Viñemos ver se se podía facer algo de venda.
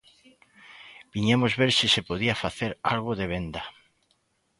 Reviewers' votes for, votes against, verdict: 2, 0, accepted